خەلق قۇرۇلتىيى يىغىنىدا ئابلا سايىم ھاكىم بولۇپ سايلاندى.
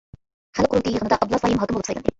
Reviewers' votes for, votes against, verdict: 0, 2, rejected